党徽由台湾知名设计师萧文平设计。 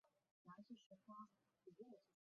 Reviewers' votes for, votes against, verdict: 0, 4, rejected